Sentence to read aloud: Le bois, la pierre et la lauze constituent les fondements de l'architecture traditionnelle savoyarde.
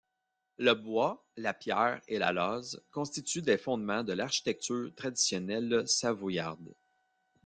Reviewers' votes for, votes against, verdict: 0, 2, rejected